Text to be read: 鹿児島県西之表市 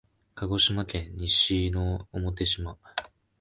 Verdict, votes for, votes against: rejected, 0, 2